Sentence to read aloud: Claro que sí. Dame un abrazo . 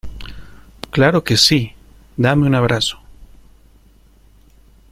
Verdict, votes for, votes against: accepted, 2, 0